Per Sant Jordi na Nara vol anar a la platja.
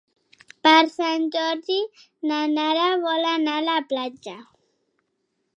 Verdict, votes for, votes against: accepted, 4, 0